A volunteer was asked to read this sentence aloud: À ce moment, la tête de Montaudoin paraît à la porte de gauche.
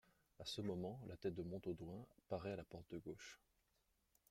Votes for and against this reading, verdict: 1, 2, rejected